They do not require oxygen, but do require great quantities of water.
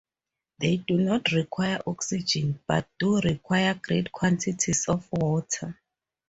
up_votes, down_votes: 2, 0